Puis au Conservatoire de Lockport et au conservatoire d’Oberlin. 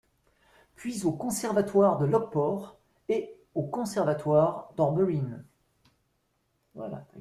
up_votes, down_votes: 0, 2